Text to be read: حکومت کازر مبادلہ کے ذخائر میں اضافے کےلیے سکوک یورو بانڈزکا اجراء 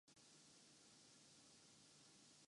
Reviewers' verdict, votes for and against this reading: rejected, 0, 2